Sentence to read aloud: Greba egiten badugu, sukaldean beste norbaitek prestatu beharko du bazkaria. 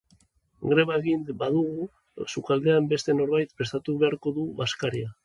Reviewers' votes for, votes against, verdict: 1, 3, rejected